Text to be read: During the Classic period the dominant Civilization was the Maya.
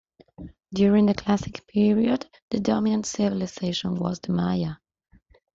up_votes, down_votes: 2, 0